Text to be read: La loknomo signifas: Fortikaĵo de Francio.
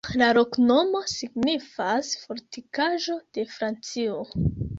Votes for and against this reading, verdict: 2, 1, accepted